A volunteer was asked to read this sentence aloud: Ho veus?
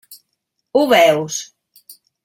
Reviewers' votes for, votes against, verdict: 3, 0, accepted